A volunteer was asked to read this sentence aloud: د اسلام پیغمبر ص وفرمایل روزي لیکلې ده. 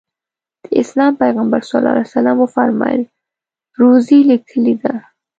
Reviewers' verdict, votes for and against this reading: accepted, 2, 0